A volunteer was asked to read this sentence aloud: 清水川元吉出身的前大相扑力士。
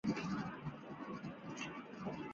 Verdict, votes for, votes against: rejected, 4, 5